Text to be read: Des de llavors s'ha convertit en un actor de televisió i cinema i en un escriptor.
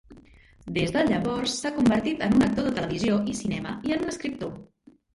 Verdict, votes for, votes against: rejected, 0, 2